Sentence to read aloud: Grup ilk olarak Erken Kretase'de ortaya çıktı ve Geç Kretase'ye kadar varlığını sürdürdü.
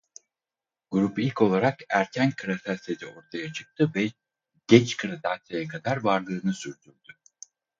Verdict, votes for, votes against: rejected, 2, 2